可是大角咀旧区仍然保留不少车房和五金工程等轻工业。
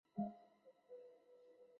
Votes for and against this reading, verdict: 0, 3, rejected